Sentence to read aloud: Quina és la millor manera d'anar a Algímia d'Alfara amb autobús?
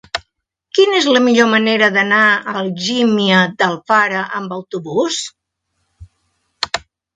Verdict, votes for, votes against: accepted, 4, 0